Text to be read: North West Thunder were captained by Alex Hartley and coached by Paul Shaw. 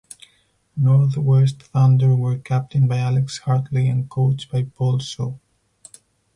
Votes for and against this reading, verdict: 4, 2, accepted